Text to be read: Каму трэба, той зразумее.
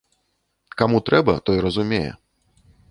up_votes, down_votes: 0, 2